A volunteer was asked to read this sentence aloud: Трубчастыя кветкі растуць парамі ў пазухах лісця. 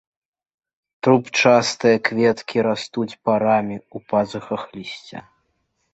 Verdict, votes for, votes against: rejected, 0, 2